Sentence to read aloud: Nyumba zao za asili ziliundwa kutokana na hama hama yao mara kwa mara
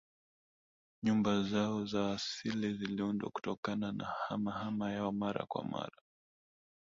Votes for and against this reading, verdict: 1, 2, rejected